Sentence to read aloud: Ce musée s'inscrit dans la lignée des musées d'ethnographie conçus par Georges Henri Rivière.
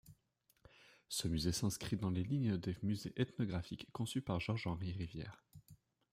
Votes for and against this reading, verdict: 1, 2, rejected